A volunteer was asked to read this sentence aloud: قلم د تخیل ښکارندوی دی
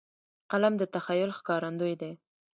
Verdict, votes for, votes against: accepted, 2, 1